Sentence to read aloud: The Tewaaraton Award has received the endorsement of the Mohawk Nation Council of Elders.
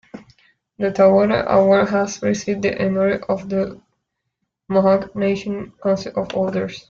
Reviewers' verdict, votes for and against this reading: rejected, 0, 2